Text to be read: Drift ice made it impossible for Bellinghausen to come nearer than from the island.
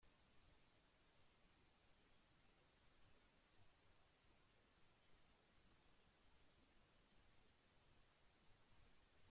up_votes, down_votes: 0, 2